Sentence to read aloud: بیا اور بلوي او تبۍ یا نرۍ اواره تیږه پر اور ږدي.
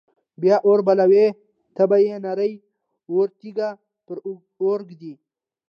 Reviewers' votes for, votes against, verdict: 2, 0, accepted